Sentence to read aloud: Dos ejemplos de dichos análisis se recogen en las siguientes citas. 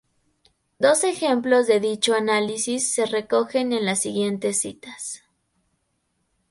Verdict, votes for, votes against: rejected, 0, 2